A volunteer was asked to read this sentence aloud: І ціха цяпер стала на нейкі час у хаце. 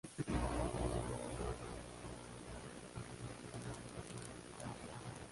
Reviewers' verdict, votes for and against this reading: rejected, 0, 2